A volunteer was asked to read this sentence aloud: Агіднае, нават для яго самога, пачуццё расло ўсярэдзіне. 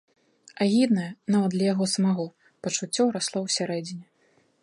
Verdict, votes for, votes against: rejected, 1, 2